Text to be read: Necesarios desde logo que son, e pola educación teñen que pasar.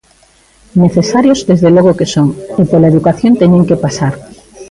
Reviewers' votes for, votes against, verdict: 2, 0, accepted